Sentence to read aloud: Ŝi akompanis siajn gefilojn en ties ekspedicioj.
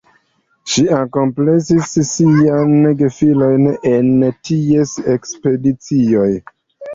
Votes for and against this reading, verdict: 2, 0, accepted